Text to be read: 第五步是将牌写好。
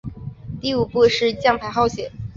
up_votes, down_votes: 3, 4